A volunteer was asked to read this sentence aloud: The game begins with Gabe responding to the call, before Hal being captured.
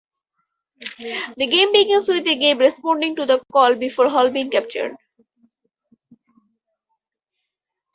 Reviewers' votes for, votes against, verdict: 4, 2, accepted